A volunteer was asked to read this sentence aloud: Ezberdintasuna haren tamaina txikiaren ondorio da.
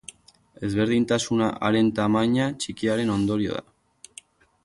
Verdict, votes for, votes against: accepted, 4, 0